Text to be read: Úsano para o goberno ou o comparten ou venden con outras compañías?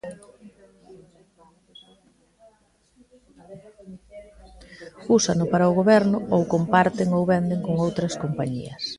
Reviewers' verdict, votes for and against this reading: rejected, 0, 2